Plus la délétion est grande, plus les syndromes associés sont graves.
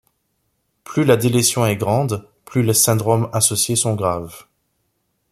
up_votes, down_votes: 2, 0